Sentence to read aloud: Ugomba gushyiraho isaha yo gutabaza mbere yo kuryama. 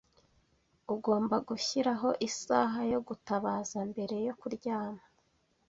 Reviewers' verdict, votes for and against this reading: accepted, 2, 0